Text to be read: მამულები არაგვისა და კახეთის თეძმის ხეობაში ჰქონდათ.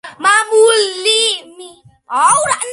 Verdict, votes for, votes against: rejected, 0, 2